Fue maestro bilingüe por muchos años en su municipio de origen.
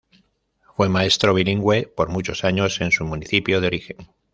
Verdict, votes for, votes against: accepted, 2, 0